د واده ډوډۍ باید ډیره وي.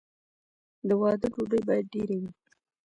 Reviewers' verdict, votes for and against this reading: rejected, 0, 2